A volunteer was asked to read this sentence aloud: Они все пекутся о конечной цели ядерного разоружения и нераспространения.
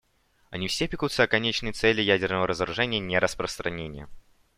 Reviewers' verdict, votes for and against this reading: accepted, 2, 0